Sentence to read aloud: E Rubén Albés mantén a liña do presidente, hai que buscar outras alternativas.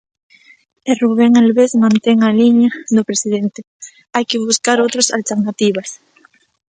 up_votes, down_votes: 2, 0